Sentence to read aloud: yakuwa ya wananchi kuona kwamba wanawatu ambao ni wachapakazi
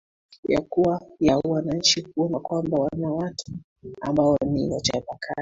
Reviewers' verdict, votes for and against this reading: accepted, 3, 1